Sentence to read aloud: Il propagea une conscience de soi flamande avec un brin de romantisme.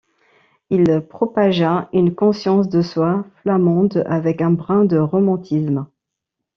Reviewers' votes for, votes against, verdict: 2, 1, accepted